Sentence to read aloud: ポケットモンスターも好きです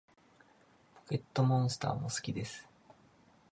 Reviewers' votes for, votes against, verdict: 2, 1, accepted